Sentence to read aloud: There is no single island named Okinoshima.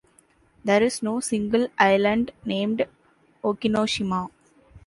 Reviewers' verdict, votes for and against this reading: accepted, 2, 0